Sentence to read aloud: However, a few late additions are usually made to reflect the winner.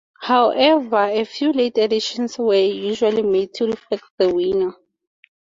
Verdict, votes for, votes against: accepted, 2, 0